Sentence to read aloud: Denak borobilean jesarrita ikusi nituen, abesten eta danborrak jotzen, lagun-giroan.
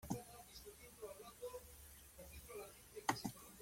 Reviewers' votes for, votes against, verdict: 0, 2, rejected